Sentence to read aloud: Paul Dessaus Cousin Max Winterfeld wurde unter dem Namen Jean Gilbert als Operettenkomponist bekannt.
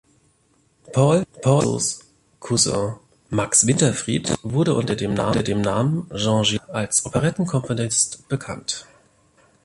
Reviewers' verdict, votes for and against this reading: rejected, 0, 2